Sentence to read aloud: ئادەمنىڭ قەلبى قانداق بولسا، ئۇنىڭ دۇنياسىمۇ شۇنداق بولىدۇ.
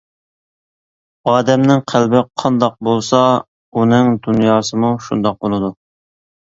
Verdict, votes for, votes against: accepted, 2, 0